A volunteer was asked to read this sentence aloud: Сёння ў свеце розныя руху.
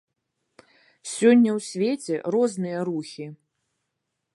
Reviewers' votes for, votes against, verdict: 1, 2, rejected